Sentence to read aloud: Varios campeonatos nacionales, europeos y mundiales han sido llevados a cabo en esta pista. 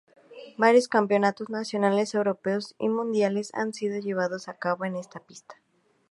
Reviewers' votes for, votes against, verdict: 2, 0, accepted